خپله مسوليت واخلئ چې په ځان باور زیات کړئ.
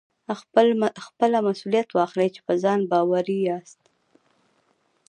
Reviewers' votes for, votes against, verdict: 2, 1, accepted